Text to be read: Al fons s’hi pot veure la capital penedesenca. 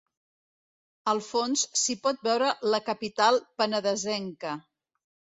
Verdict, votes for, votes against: accepted, 2, 0